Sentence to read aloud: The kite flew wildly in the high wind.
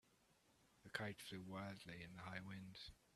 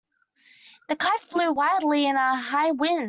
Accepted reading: first